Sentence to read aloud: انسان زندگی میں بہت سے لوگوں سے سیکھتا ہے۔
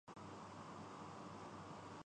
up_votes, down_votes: 0, 2